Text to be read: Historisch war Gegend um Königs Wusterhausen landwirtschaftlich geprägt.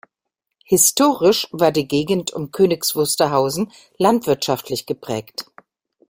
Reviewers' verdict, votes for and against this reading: rejected, 1, 2